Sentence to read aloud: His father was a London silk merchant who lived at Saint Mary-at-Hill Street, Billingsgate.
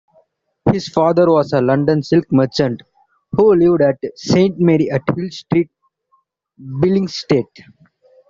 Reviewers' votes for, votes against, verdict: 1, 2, rejected